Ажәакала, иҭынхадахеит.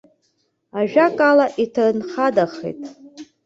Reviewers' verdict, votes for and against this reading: accepted, 2, 1